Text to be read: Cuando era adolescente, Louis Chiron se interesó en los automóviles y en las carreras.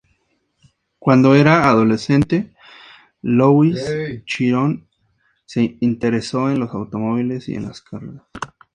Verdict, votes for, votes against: accepted, 2, 0